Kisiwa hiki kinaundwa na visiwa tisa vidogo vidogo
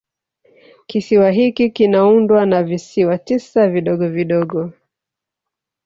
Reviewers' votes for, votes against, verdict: 0, 2, rejected